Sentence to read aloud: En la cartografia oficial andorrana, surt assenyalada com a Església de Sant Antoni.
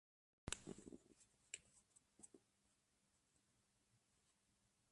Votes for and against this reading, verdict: 0, 2, rejected